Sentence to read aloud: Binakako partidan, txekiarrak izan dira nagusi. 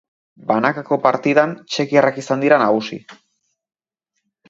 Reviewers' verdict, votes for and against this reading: rejected, 0, 2